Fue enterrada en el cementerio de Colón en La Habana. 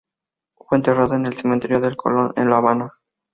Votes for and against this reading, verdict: 2, 0, accepted